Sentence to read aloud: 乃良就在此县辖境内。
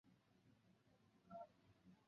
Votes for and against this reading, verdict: 2, 3, rejected